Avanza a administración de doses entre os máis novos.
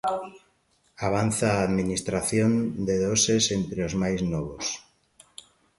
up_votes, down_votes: 2, 1